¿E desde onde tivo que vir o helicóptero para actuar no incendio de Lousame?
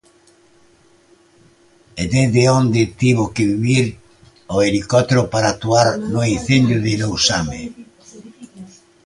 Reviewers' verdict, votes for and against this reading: rejected, 0, 2